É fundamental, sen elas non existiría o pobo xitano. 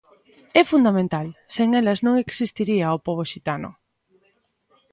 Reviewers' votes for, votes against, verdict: 2, 0, accepted